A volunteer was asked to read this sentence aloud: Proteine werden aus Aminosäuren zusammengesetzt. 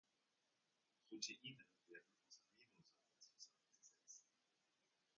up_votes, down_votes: 0, 2